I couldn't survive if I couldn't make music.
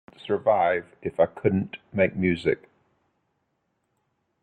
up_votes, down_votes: 0, 2